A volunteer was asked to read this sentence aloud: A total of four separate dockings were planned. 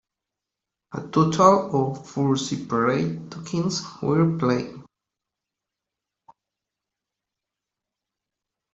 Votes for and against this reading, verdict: 0, 2, rejected